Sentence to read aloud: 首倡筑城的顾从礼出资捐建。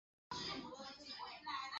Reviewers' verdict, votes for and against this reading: rejected, 2, 3